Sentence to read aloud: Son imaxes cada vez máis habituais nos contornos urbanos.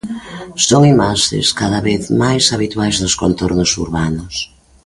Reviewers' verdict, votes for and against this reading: rejected, 0, 2